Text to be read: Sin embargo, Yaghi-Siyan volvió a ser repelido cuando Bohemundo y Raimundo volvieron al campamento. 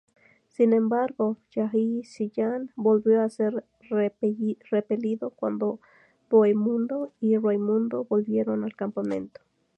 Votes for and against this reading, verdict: 2, 0, accepted